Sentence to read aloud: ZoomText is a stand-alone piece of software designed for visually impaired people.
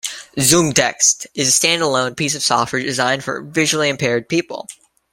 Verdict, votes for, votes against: accepted, 2, 0